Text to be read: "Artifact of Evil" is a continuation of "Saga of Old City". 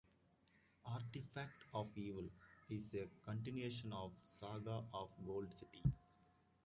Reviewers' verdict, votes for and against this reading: rejected, 1, 2